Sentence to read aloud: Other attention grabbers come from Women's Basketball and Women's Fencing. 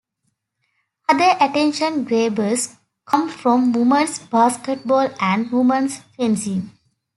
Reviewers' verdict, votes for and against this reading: accepted, 2, 1